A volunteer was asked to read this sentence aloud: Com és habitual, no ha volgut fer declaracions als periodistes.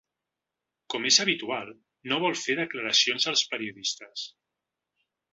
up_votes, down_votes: 1, 2